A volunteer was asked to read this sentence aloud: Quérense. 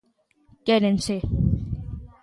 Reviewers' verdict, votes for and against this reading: accepted, 2, 0